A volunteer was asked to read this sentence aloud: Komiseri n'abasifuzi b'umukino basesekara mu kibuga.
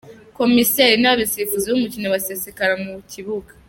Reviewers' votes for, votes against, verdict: 0, 2, rejected